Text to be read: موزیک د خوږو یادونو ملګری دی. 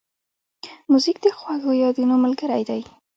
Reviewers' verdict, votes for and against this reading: accepted, 2, 0